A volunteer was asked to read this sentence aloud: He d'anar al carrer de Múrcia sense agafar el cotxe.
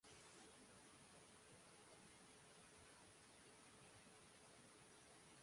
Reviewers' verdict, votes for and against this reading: rejected, 0, 2